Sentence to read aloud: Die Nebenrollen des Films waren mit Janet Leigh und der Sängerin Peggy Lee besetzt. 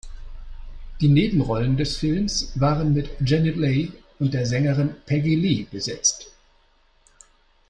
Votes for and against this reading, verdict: 2, 1, accepted